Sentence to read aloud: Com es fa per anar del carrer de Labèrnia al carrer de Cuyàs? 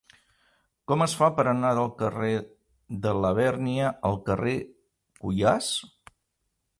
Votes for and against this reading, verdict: 0, 2, rejected